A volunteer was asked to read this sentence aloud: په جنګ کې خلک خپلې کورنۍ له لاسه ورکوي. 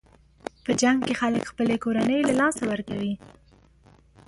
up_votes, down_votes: 2, 1